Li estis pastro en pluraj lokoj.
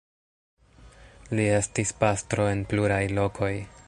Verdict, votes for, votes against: accepted, 2, 1